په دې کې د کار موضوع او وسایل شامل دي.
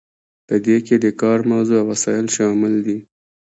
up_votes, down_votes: 0, 2